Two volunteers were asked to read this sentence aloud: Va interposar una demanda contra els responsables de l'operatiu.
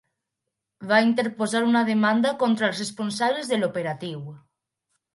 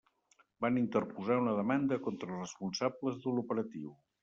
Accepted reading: first